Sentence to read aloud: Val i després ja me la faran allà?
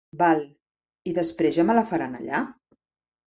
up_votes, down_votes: 3, 0